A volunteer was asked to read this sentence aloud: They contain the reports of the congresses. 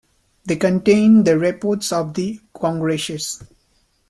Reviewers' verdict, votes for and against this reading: accepted, 2, 1